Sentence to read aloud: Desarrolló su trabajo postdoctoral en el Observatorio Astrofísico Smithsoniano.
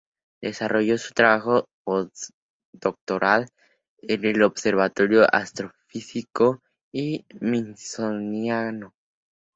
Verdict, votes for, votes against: rejected, 2, 2